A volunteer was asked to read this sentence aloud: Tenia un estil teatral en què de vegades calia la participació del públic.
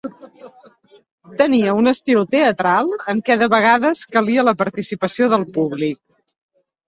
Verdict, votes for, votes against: accepted, 3, 0